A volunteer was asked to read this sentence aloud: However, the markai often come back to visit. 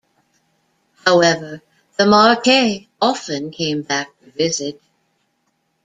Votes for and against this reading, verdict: 0, 2, rejected